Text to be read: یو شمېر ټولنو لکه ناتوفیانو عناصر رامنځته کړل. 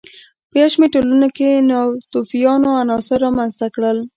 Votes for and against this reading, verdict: 2, 1, accepted